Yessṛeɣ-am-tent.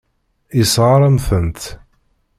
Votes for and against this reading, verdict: 1, 2, rejected